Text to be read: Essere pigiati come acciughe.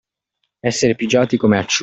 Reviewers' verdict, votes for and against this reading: rejected, 0, 2